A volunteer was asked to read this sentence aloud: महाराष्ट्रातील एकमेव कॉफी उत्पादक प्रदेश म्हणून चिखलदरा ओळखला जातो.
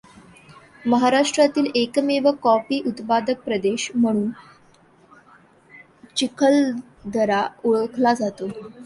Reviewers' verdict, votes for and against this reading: accepted, 2, 1